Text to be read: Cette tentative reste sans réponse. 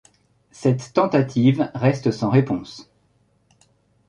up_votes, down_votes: 3, 0